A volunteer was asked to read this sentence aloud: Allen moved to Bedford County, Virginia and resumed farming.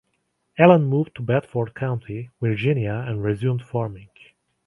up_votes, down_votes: 2, 0